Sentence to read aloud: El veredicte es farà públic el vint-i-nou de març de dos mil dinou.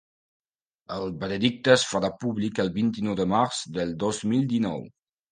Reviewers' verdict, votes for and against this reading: rejected, 1, 2